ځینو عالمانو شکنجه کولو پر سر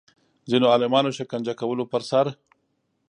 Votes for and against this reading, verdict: 2, 0, accepted